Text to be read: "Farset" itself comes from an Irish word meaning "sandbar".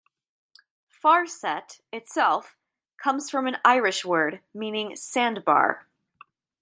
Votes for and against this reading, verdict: 2, 0, accepted